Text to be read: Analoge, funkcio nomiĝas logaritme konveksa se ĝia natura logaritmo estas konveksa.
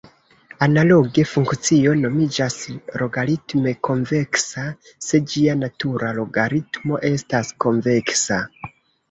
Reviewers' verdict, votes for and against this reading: rejected, 1, 2